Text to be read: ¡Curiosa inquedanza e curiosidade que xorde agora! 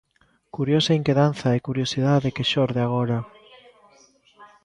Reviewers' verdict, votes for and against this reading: accepted, 2, 1